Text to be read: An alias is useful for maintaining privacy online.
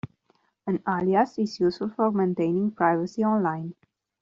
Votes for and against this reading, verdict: 1, 2, rejected